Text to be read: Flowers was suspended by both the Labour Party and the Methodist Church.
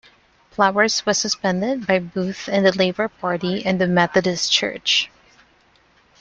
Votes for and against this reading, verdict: 3, 2, accepted